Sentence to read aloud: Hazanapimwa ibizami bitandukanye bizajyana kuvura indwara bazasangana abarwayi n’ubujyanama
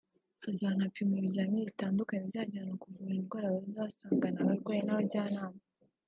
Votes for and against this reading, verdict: 0, 2, rejected